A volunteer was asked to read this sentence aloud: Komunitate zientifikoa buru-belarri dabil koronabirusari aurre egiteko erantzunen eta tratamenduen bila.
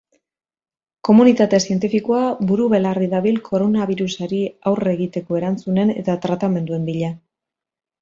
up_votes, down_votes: 3, 0